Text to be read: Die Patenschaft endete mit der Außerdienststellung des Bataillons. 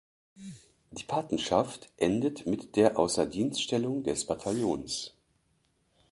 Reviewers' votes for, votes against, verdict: 1, 2, rejected